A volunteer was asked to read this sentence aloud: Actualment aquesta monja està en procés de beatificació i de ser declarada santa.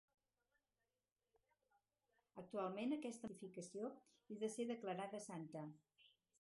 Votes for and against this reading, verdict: 0, 4, rejected